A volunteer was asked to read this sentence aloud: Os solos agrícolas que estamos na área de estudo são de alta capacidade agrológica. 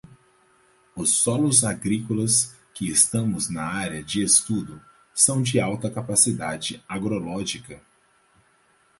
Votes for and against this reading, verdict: 4, 0, accepted